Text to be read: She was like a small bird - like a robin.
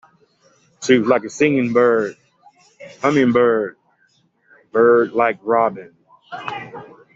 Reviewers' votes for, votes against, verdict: 0, 2, rejected